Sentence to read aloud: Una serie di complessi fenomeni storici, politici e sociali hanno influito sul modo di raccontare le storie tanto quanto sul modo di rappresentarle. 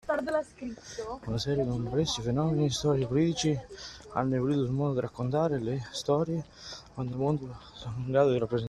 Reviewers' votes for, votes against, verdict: 0, 2, rejected